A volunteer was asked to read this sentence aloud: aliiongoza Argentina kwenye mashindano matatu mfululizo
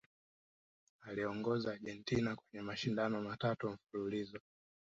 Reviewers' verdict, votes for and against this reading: accepted, 2, 0